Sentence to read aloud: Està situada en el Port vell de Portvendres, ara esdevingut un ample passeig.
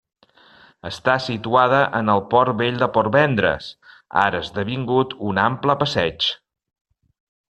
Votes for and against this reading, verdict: 2, 0, accepted